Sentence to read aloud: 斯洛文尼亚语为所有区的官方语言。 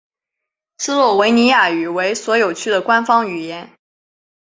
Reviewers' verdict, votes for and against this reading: accepted, 3, 0